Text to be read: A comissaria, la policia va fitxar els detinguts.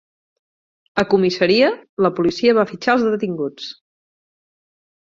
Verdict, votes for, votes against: accepted, 6, 0